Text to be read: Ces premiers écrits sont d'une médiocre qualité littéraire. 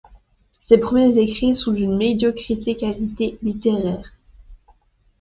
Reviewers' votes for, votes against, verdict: 1, 2, rejected